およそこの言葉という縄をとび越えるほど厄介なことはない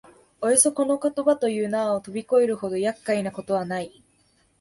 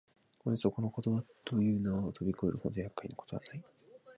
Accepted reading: first